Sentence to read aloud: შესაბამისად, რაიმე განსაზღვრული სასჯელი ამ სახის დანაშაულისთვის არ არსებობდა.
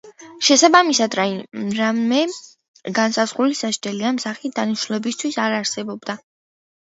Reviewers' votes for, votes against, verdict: 0, 2, rejected